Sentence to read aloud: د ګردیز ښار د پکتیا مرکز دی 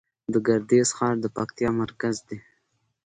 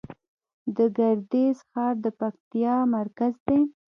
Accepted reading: first